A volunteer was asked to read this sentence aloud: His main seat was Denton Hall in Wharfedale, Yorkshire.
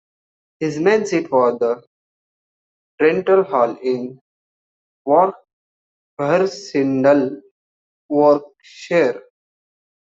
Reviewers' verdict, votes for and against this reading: rejected, 1, 2